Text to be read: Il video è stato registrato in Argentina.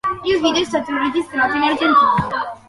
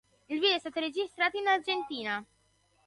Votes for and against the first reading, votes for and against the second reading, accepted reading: 0, 2, 2, 0, second